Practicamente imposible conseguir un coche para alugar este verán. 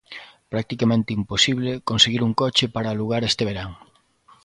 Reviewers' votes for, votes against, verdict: 2, 0, accepted